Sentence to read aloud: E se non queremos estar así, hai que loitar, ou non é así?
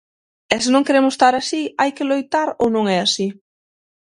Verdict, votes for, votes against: accepted, 6, 3